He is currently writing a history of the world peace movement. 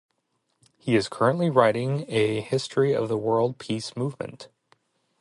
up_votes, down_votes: 0, 2